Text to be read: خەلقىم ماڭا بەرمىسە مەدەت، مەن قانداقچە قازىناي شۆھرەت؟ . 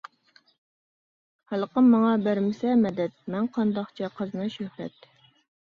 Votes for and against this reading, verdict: 2, 1, accepted